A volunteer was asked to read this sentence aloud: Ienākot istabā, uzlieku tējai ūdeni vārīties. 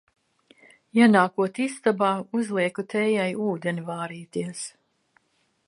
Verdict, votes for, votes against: accepted, 2, 0